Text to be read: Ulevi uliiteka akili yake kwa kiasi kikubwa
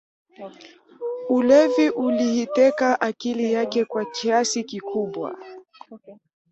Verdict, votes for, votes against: rejected, 1, 2